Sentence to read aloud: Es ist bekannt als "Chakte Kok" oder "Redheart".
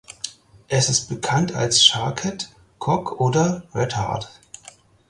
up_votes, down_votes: 0, 4